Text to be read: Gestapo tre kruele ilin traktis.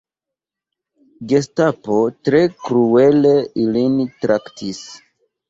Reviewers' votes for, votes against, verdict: 1, 2, rejected